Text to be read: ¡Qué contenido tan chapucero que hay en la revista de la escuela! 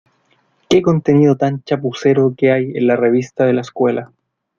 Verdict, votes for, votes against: rejected, 0, 2